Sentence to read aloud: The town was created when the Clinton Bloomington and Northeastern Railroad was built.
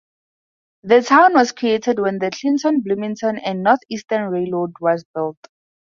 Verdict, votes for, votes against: accepted, 4, 0